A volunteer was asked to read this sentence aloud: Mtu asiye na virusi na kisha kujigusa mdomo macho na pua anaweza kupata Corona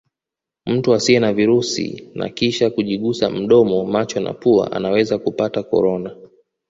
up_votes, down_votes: 2, 0